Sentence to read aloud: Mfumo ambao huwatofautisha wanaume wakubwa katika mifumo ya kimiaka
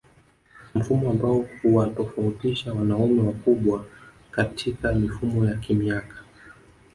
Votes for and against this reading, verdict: 1, 2, rejected